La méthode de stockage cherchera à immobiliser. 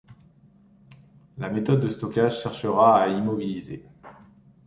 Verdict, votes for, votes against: accepted, 2, 0